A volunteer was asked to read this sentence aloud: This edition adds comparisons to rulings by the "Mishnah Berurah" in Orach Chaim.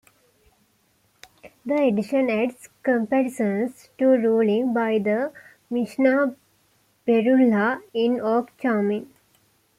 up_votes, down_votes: 1, 2